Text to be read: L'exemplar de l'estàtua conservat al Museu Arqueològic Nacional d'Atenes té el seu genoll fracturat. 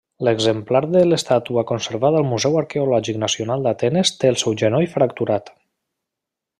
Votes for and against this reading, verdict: 2, 0, accepted